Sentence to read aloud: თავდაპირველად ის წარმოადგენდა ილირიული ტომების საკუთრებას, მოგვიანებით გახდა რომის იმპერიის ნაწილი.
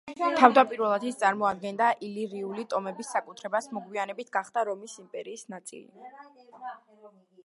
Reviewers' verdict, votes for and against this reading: accepted, 2, 0